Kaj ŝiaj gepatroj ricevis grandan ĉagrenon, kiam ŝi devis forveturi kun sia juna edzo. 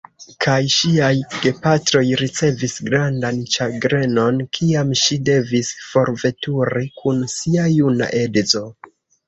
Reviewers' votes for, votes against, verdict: 2, 0, accepted